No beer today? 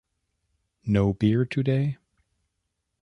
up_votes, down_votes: 2, 0